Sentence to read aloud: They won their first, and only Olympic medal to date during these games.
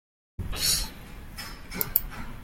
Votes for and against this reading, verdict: 0, 2, rejected